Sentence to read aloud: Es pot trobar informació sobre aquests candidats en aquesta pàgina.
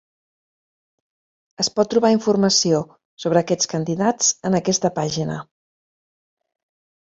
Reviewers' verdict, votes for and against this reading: accepted, 3, 0